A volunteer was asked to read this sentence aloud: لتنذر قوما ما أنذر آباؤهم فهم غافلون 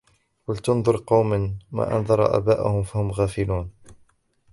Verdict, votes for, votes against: rejected, 0, 2